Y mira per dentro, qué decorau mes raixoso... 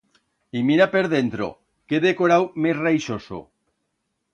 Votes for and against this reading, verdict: 2, 0, accepted